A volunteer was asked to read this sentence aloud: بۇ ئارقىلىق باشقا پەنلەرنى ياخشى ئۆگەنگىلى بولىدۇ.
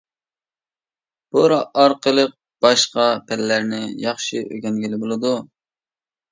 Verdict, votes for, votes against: rejected, 0, 2